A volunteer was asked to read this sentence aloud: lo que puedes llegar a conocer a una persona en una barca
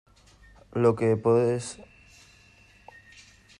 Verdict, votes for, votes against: rejected, 1, 2